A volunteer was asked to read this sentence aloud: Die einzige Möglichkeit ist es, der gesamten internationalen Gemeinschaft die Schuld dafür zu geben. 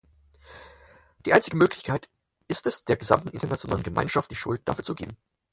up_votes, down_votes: 4, 0